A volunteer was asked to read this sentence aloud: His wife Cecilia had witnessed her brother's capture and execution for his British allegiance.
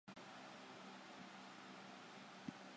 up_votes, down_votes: 0, 2